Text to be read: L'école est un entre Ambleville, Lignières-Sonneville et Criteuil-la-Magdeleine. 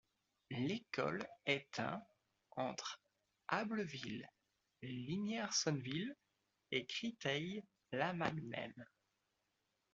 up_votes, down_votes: 2, 1